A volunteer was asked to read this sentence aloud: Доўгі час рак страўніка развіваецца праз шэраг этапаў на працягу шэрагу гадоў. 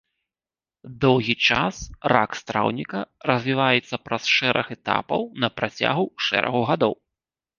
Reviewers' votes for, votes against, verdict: 3, 1, accepted